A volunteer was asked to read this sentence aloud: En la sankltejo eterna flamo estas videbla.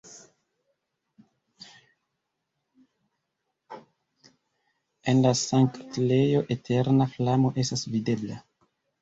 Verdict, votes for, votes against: rejected, 1, 2